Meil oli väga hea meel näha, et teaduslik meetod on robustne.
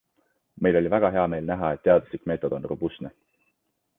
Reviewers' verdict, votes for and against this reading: accepted, 2, 0